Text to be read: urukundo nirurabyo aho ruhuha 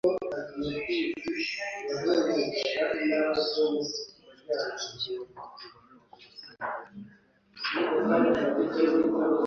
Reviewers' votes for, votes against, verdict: 0, 2, rejected